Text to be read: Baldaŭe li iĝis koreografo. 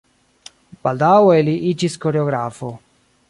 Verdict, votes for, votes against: accepted, 2, 0